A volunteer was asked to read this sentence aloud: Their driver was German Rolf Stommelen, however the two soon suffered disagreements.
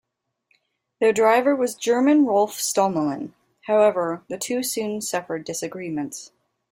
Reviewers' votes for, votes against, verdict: 2, 0, accepted